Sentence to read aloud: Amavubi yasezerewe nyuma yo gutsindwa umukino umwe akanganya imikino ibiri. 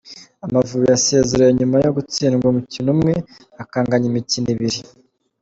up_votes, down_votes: 2, 1